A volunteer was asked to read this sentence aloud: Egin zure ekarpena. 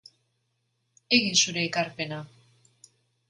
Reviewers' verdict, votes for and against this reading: accepted, 2, 0